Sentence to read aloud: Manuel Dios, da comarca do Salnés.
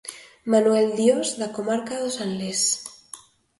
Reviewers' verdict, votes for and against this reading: accepted, 2, 0